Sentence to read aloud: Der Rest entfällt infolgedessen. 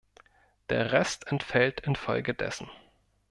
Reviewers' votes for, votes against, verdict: 2, 0, accepted